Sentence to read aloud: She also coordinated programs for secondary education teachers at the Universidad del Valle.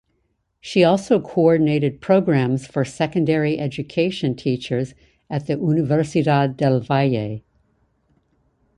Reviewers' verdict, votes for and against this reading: rejected, 0, 2